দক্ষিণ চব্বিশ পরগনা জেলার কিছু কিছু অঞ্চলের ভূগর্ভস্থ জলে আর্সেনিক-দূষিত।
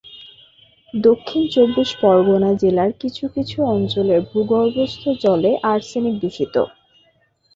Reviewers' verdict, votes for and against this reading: accepted, 4, 0